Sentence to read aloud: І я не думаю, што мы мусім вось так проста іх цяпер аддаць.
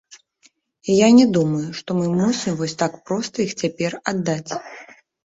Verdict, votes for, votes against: accepted, 2, 0